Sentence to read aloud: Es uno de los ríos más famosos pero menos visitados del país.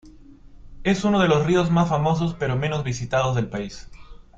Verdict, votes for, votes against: accepted, 2, 0